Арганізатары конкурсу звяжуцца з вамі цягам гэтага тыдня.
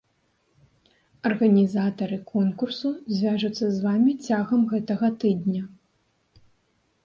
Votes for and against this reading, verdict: 3, 0, accepted